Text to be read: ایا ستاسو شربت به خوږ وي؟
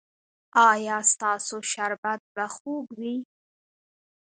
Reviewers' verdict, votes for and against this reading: rejected, 0, 2